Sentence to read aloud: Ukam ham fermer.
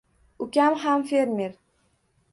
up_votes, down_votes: 2, 0